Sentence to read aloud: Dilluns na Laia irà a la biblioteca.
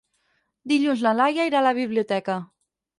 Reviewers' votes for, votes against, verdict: 6, 8, rejected